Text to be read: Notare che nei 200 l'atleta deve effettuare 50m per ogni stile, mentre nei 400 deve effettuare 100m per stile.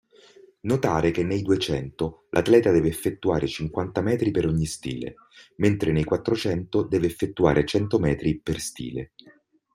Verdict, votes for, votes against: rejected, 0, 2